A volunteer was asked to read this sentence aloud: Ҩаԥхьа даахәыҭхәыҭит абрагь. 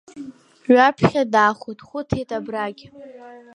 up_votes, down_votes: 1, 2